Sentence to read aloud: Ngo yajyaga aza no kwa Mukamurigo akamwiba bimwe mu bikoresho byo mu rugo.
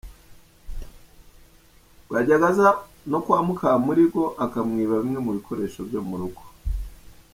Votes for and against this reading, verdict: 1, 2, rejected